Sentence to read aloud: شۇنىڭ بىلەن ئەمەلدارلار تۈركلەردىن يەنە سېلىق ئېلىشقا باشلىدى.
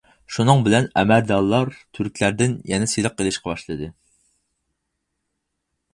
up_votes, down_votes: 2, 4